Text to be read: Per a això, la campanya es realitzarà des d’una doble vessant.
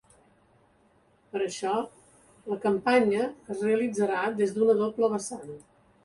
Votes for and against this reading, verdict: 2, 0, accepted